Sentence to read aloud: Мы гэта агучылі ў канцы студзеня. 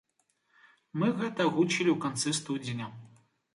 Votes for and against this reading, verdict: 2, 0, accepted